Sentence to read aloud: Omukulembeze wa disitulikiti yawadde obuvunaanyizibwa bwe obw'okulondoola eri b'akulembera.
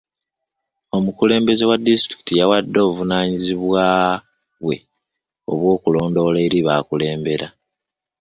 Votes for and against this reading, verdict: 1, 2, rejected